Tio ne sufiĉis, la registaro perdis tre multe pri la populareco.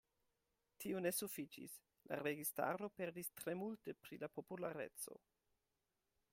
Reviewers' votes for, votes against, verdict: 2, 0, accepted